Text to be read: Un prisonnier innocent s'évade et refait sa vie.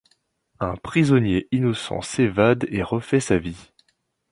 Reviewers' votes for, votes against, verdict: 2, 0, accepted